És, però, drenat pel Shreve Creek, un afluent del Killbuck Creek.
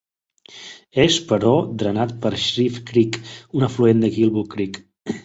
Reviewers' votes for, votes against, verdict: 0, 2, rejected